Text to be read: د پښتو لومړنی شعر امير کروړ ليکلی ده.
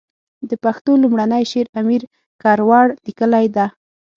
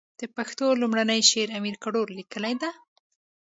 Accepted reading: second